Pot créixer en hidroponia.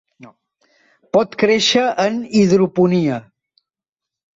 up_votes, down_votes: 1, 2